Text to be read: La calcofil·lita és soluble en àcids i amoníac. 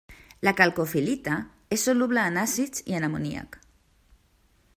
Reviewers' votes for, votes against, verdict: 0, 2, rejected